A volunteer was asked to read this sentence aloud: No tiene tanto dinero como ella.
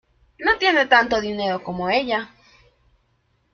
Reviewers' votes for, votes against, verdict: 1, 2, rejected